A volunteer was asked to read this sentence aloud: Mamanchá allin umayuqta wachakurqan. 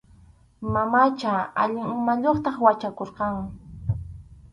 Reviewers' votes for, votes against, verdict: 2, 2, rejected